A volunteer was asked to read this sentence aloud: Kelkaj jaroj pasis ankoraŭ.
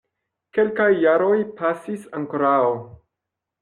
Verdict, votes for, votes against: rejected, 1, 2